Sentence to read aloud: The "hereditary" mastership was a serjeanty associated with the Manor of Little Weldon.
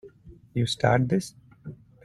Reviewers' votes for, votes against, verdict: 0, 2, rejected